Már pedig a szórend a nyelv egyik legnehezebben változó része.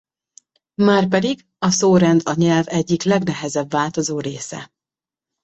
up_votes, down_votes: 0, 2